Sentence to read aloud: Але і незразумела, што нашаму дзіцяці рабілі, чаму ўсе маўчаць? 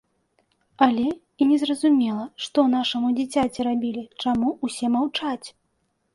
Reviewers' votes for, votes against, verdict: 1, 2, rejected